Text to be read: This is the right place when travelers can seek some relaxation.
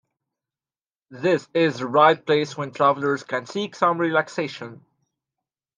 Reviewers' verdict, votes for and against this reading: accepted, 2, 0